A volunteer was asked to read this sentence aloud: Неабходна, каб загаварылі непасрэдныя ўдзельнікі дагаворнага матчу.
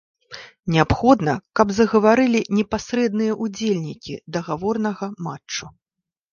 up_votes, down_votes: 2, 0